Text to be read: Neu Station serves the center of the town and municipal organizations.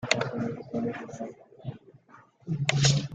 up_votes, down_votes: 0, 2